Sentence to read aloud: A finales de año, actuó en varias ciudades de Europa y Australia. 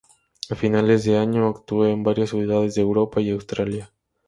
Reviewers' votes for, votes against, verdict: 2, 2, rejected